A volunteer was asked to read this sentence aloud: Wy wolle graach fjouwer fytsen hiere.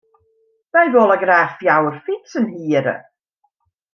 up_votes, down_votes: 2, 0